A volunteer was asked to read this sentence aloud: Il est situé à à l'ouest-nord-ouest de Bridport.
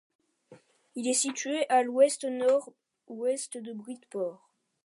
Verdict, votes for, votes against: rejected, 0, 2